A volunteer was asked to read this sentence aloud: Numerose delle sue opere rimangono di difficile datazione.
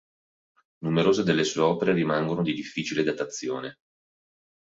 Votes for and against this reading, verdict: 2, 0, accepted